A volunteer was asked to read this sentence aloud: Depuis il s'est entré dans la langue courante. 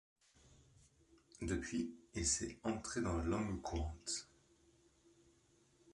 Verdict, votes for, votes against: accepted, 2, 0